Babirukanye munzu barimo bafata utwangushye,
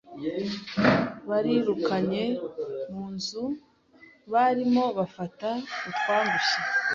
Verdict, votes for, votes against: accepted, 2, 0